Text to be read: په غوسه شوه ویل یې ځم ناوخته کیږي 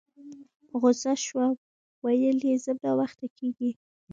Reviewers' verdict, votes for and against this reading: accepted, 2, 0